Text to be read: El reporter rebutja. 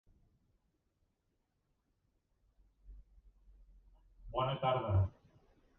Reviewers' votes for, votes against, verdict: 0, 2, rejected